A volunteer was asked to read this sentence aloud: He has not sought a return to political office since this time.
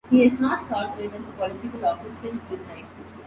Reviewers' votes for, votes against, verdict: 0, 2, rejected